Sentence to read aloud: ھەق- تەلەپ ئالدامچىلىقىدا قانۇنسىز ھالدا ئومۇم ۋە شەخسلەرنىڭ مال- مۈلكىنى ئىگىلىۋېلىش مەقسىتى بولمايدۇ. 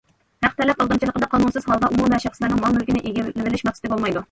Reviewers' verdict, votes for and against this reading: rejected, 1, 2